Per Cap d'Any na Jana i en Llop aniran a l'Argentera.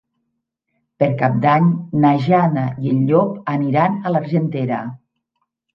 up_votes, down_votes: 3, 0